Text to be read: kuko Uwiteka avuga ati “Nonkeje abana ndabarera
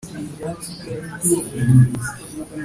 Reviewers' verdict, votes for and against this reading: rejected, 1, 2